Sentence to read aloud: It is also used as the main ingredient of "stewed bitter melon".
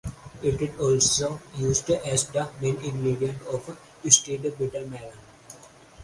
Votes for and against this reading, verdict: 2, 0, accepted